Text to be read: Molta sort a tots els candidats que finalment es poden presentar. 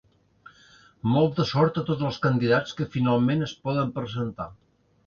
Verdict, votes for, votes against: accepted, 2, 0